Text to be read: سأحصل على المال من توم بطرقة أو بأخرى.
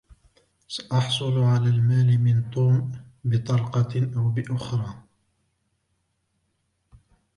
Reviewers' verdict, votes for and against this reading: rejected, 1, 2